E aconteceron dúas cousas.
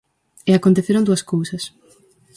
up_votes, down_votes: 2, 2